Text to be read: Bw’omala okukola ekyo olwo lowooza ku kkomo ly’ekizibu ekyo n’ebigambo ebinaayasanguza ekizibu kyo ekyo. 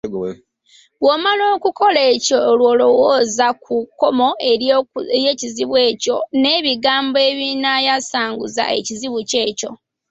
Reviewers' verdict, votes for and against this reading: rejected, 1, 2